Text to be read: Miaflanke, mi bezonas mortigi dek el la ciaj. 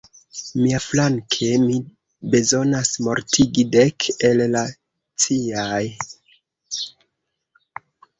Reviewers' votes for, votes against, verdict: 1, 2, rejected